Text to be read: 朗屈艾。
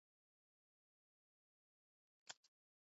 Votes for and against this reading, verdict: 0, 2, rejected